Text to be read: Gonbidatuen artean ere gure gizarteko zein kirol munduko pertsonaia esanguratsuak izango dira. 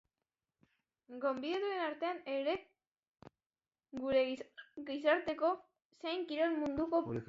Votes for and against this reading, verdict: 0, 2, rejected